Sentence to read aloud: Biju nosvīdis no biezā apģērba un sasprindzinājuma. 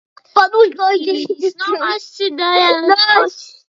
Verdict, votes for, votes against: rejected, 0, 2